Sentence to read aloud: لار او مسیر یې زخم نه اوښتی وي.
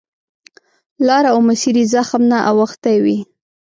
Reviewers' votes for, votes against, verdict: 2, 0, accepted